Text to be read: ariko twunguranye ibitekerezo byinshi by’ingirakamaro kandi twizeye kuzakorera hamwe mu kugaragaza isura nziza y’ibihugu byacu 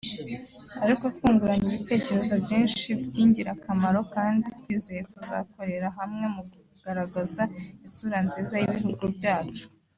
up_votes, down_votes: 2, 0